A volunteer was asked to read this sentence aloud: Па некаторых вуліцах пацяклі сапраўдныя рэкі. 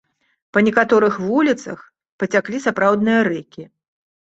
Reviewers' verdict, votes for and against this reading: accepted, 2, 0